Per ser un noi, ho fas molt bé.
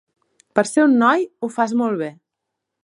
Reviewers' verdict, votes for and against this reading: accepted, 2, 0